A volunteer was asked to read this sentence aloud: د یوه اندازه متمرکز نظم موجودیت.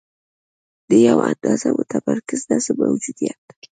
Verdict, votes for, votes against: accepted, 2, 0